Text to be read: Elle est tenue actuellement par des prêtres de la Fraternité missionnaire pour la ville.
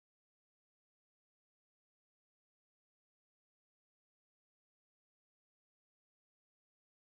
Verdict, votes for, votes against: rejected, 0, 2